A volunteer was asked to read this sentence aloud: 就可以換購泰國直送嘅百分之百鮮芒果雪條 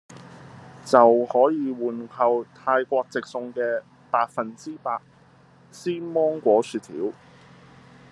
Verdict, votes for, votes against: accepted, 3, 0